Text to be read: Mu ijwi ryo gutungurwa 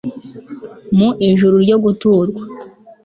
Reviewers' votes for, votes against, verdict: 0, 2, rejected